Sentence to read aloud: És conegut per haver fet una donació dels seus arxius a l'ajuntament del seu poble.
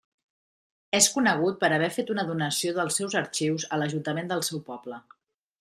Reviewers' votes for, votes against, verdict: 2, 0, accepted